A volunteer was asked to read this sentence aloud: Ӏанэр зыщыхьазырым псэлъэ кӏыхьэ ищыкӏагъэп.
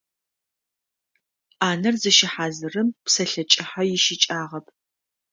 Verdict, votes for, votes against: accepted, 2, 0